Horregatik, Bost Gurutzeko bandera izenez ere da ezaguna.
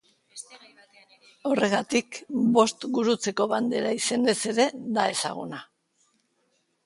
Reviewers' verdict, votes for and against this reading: rejected, 1, 2